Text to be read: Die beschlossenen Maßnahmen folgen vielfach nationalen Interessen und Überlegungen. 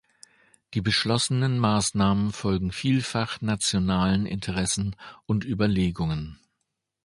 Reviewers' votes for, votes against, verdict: 2, 0, accepted